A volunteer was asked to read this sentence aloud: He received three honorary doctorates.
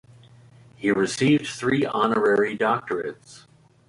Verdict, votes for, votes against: accepted, 2, 0